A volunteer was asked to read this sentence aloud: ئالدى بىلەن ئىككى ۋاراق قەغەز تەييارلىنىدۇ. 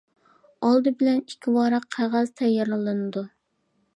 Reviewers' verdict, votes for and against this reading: accepted, 2, 0